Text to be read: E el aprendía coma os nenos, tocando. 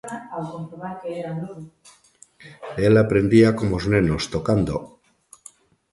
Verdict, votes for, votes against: rejected, 1, 2